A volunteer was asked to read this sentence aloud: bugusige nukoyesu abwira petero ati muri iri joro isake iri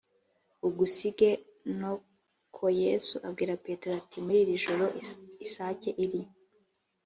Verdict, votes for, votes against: rejected, 1, 2